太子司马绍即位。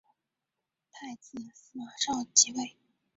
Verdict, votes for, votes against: rejected, 2, 3